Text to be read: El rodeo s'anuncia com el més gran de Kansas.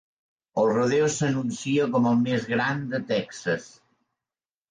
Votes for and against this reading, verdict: 1, 2, rejected